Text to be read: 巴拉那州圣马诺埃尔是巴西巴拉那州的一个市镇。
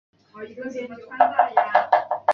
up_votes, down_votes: 0, 9